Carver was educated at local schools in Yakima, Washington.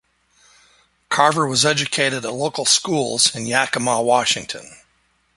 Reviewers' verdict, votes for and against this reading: accepted, 2, 0